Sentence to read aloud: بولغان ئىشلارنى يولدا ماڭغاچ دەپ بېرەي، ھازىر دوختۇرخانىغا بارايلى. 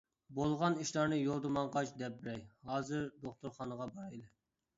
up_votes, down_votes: 1, 2